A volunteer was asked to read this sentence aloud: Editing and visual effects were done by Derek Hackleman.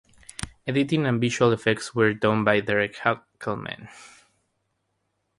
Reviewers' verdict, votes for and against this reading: accepted, 3, 0